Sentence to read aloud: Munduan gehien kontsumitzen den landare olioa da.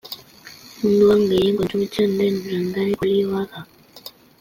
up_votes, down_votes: 2, 0